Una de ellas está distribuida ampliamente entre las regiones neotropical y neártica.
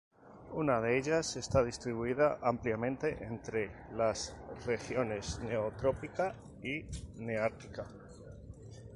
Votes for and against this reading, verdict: 2, 2, rejected